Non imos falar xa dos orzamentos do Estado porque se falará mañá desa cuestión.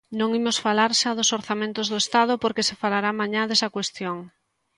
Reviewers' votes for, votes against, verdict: 2, 0, accepted